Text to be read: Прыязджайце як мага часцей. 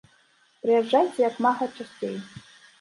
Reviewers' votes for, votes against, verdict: 1, 2, rejected